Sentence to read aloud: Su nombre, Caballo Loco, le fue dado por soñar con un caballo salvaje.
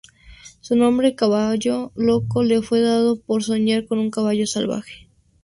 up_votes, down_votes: 0, 4